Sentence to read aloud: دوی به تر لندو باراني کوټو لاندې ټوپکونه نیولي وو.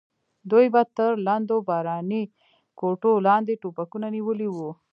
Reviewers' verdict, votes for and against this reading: rejected, 0, 2